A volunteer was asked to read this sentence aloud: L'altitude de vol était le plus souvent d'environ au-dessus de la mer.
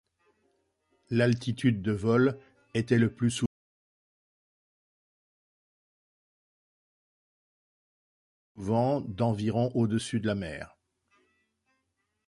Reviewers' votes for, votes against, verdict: 0, 2, rejected